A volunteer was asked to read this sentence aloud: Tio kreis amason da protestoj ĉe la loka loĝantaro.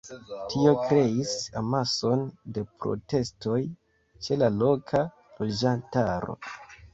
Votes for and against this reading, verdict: 1, 2, rejected